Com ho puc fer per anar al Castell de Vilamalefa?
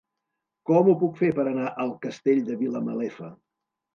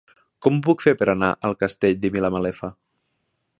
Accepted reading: first